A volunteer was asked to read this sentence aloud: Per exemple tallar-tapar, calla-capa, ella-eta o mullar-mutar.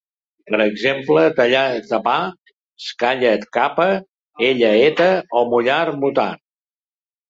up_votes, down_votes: 2, 0